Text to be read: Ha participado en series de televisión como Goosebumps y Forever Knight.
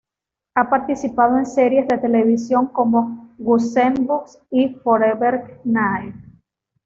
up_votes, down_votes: 2, 0